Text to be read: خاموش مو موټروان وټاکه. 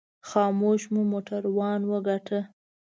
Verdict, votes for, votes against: rejected, 1, 2